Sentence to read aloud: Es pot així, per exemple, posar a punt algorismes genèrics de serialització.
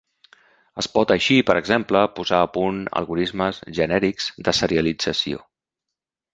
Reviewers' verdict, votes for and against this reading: accepted, 3, 0